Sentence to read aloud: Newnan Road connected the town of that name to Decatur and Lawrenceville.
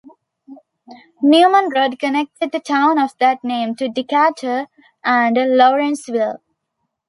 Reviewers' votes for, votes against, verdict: 1, 2, rejected